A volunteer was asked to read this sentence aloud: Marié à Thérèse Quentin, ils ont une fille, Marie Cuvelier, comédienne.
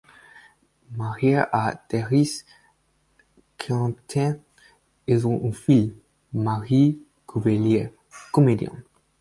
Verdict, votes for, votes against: rejected, 2, 4